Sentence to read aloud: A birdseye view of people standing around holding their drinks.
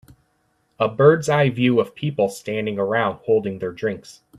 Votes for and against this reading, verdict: 2, 0, accepted